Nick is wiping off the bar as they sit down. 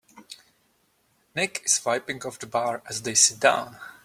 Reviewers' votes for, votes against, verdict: 3, 0, accepted